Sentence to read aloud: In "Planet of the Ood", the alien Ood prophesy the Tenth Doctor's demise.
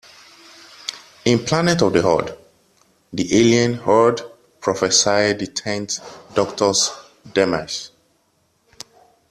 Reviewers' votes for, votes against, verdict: 0, 2, rejected